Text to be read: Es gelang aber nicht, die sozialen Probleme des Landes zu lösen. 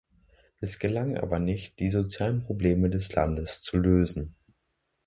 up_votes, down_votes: 2, 1